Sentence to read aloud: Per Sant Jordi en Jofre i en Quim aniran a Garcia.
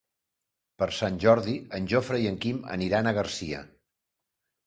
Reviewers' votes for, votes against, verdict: 3, 0, accepted